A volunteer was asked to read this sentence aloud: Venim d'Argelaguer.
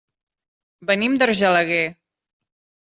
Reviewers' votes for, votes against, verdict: 3, 0, accepted